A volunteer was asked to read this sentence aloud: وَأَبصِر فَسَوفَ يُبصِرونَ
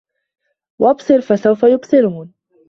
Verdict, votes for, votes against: accepted, 2, 0